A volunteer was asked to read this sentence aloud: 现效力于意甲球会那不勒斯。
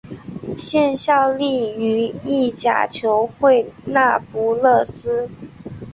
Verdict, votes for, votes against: accepted, 4, 0